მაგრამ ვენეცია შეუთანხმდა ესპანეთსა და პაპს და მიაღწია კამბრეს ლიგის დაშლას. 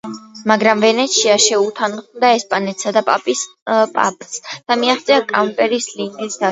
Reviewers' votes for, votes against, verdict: 0, 2, rejected